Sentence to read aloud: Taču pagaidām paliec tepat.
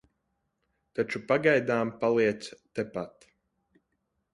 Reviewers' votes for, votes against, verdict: 2, 0, accepted